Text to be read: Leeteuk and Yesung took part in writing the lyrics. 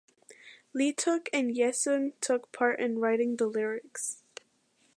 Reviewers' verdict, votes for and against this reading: accepted, 2, 0